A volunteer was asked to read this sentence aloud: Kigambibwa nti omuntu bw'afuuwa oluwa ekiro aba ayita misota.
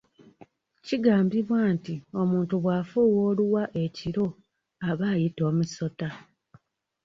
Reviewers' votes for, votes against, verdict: 0, 2, rejected